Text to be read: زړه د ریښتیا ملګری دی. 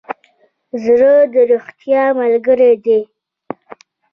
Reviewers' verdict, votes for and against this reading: rejected, 1, 2